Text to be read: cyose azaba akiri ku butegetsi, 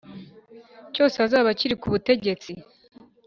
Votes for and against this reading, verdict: 2, 0, accepted